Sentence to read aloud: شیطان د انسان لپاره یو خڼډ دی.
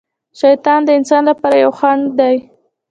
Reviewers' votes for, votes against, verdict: 0, 2, rejected